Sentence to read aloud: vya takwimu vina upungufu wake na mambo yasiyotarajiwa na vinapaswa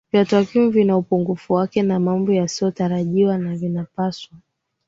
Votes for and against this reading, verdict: 2, 0, accepted